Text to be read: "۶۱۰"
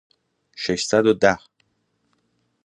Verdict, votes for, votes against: rejected, 0, 2